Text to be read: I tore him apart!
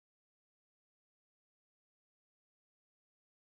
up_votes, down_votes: 0, 2